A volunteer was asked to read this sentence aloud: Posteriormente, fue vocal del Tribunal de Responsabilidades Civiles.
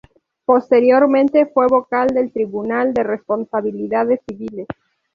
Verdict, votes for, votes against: accepted, 2, 0